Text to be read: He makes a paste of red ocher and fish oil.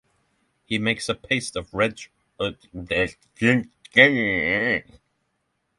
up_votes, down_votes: 0, 24